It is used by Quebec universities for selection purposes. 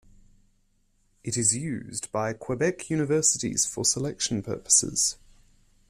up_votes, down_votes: 2, 0